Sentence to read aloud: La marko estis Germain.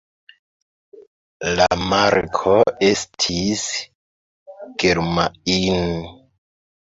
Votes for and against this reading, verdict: 1, 2, rejected